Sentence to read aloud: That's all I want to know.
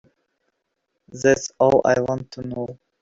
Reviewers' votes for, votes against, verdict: 0, 4, rejected